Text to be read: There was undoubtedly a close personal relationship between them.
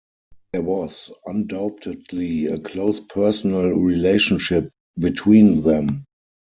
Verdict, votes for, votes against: rejected, 2, 4